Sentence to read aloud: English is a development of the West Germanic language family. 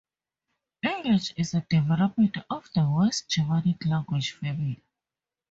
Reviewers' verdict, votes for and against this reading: rejected, 0, 2